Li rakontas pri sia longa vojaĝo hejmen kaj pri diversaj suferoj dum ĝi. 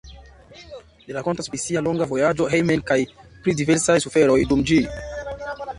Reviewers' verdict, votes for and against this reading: accepted, 2, 0